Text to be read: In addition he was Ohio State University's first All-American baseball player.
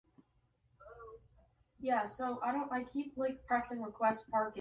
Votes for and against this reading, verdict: 1, 2, rejected